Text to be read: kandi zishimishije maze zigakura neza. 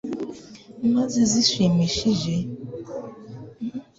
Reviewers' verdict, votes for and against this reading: rejected, 1, 2